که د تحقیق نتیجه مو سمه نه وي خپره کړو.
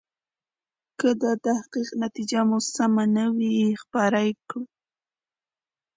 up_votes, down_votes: 2, 0